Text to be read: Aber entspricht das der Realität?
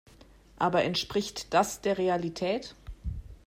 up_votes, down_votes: 2, 0